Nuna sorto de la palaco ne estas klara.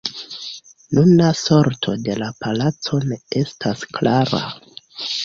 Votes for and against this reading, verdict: 2, 0, accepted